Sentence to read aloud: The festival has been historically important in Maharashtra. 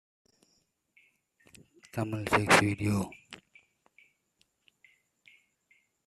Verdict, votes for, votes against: rejected, 1, 2